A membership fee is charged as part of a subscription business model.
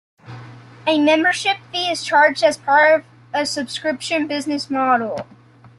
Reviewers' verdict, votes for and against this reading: accepted, 2, 0